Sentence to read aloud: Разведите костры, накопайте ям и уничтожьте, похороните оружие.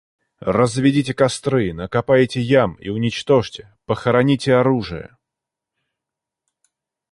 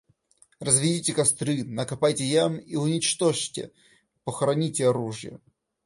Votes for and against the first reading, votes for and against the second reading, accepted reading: 2, 0, 1, 2, first